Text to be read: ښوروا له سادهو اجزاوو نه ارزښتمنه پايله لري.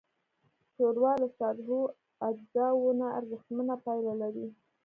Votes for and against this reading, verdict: 1, 2, rejected